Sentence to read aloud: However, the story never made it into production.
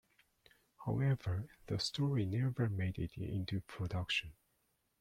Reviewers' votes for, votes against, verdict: 2, 0, accepted